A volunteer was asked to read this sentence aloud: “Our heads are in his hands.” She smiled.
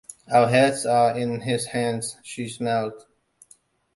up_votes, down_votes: 2, 0